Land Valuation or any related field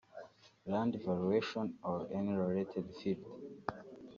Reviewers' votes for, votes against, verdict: 1, 2, rejected